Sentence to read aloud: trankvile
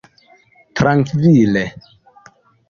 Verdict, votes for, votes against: accepted, 2, 0